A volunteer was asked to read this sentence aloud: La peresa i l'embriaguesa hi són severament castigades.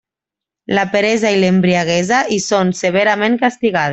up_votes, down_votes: 0, 2